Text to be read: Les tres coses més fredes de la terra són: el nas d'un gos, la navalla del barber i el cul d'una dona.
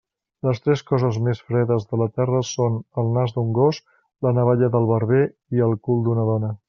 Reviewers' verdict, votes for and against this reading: accepted, 2, 0